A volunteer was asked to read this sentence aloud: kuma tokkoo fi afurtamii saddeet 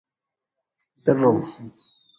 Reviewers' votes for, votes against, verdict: 0, 2, rejected